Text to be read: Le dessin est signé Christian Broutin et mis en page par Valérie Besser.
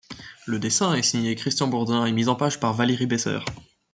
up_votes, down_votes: 0, 2